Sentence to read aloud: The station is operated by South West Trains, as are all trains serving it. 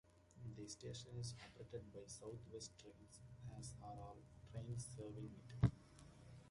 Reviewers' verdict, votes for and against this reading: accepted, 2, 0